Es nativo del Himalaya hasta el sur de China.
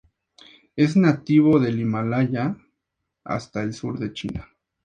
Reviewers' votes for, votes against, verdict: 2, 0, accepted